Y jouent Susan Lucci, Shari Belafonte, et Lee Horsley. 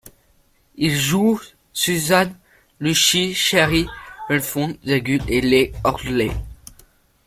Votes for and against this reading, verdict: 0, 2, rejected